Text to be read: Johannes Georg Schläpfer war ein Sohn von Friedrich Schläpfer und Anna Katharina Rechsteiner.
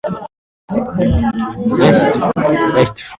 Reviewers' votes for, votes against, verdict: 0, 2, rejected